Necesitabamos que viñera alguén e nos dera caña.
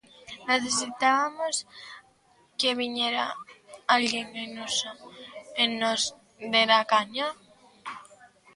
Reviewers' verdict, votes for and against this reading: rejected, 0, 2